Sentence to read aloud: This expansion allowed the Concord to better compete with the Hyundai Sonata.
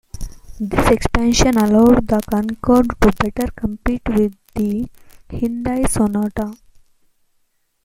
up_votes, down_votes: 0, 2